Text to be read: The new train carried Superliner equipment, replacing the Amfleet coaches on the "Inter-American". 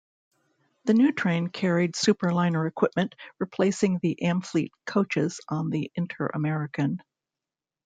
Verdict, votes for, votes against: accepted, 2, 0